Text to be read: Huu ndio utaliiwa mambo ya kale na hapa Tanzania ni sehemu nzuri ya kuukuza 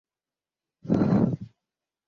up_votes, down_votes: 0, 3